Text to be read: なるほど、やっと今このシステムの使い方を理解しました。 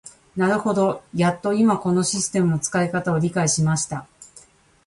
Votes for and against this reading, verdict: 0, 2, rejected